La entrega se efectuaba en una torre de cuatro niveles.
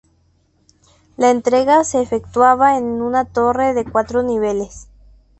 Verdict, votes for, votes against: accepted, 2, 0